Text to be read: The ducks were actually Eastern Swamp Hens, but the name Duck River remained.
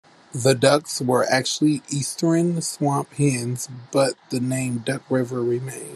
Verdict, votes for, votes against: accepted, 2, 1